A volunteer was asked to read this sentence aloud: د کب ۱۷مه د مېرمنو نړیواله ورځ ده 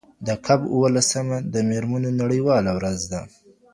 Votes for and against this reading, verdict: 0, 2, rejected